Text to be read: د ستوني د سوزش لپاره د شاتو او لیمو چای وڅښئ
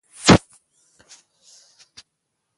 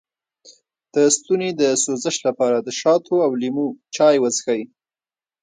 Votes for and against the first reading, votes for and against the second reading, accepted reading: 1, 2, 2, 0, second